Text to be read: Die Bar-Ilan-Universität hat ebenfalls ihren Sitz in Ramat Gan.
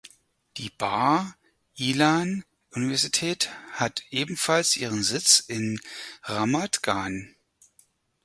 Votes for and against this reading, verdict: 2, 4, rejected